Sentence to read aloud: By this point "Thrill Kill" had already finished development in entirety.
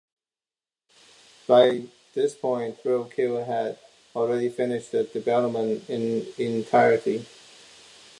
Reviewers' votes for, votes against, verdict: 2, 0, accepted